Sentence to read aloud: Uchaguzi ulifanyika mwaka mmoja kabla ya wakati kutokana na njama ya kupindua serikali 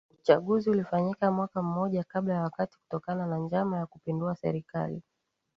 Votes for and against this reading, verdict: 2, 1, accepted